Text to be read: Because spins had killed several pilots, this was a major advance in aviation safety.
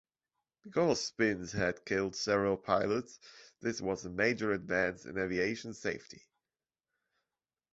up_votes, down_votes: 2, 0